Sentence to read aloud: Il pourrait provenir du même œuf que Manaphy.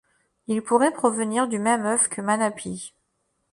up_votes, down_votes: 0, 2